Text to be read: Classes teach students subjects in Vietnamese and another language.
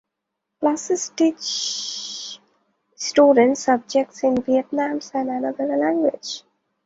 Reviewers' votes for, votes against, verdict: 0, 2, rejected